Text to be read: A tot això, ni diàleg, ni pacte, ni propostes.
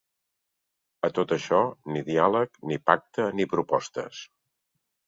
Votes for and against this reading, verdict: 2, 0, accepted